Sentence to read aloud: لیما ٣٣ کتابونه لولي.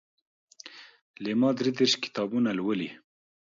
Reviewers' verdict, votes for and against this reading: rejected, 0, 2